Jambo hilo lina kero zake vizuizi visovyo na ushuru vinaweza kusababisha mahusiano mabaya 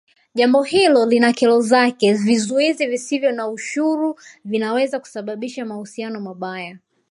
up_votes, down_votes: 2, 1